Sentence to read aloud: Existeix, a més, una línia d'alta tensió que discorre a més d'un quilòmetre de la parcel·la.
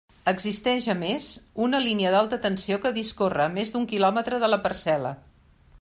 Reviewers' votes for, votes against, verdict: 2, 0, accepted